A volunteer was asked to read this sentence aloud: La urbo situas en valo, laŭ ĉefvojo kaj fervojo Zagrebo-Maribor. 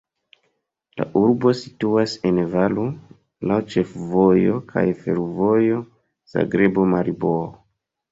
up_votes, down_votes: 1, 2